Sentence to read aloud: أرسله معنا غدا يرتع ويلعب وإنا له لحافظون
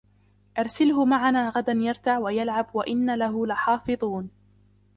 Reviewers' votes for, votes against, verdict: 1, 2, rejected